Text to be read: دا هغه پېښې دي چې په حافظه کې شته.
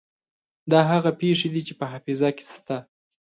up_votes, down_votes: 2, 0